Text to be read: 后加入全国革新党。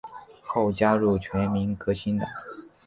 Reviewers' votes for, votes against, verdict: 0, 2, rejected